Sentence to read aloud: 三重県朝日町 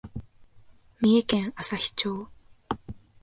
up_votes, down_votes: 1, 2